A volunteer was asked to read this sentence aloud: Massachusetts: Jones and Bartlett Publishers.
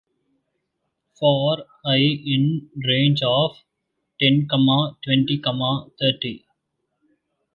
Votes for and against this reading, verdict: 0, 2, rejected